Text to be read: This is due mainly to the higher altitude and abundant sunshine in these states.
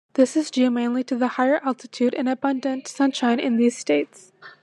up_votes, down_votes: 2, 0